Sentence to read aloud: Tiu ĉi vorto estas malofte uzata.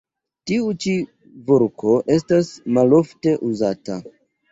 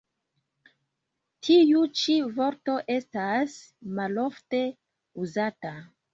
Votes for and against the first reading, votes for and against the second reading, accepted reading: 3, 0, 0, 2, first